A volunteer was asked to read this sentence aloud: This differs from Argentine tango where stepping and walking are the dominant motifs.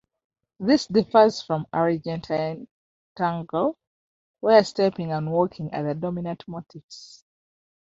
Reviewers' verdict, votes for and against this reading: rejected, 1, 2